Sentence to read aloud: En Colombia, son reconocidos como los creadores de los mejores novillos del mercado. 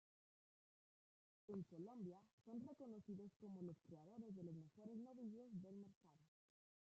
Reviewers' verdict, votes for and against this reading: rejected, 0, 2